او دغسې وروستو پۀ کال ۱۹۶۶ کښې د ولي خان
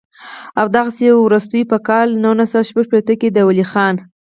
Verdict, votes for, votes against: rejected, 0, 2